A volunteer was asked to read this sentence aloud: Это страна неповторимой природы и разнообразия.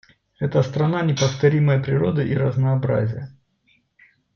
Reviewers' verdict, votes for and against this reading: accepted, 2, 1